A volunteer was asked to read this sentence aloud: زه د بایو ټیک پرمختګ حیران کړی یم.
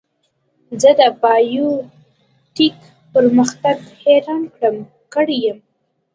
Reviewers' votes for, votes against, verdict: 2, 1, accepted